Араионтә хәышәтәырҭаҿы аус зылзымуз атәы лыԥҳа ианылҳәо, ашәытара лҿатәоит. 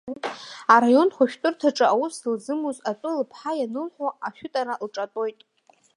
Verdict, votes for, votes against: accepted, 2, 0